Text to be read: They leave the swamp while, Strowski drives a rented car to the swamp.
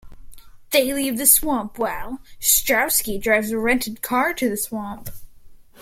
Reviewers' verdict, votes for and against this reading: accepted, 2, 0